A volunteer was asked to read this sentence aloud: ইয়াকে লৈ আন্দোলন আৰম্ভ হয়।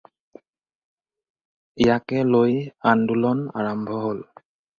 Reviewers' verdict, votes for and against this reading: rejected, 0, 4